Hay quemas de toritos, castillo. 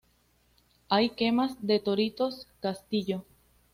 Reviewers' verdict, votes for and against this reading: accepted, 2, 0